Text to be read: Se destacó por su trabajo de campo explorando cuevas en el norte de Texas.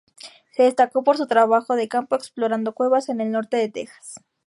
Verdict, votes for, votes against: accepted, 2, 0